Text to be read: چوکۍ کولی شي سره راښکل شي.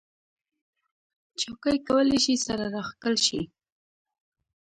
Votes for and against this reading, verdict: 1, 2, rejected